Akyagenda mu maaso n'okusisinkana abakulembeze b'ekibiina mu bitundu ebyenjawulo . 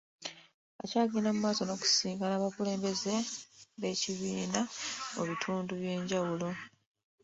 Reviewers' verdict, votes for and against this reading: rejected, 1, 2